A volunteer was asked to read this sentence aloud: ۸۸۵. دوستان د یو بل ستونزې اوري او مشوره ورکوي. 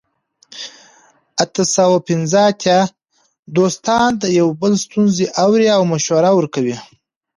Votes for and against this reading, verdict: 0, 2, rejected